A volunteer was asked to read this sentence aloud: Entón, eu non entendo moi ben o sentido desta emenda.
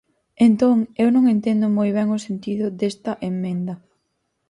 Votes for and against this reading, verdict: 0, 4, rejected